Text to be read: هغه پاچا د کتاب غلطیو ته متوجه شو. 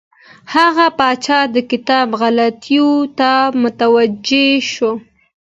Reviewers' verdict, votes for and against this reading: accepted, 2, 0